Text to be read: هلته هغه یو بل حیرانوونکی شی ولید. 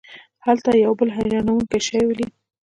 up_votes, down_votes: 2, 1